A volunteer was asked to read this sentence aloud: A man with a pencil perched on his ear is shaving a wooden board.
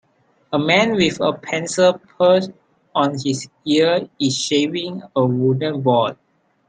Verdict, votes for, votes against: rejected, 2, 3